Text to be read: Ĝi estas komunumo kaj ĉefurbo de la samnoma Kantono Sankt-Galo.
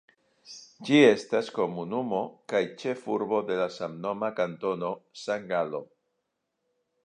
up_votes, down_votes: 2, 0